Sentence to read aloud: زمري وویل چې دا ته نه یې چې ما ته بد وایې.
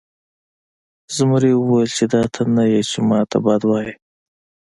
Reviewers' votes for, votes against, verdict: 2, 0, accepted